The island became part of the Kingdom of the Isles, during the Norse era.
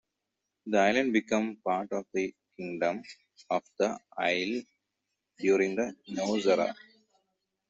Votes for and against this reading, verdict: 1, 2, rejected